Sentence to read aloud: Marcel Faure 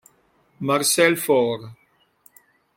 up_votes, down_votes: 2, 0